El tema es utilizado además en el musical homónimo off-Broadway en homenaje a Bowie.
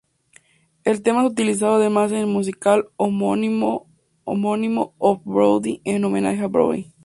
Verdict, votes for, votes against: rejected, 2, 2